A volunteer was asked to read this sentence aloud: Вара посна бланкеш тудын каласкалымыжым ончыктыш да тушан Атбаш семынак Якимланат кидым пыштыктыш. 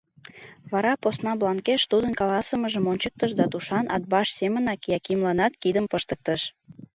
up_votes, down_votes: 1, 2